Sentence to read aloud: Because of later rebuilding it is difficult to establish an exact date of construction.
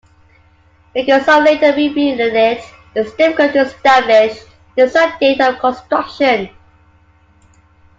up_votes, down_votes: 1, 2